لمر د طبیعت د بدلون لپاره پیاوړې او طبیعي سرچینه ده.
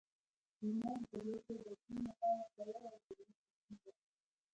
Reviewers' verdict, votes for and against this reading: rejected, 0, 2